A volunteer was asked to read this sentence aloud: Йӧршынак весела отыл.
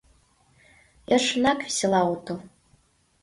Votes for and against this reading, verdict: 2, 0, accepted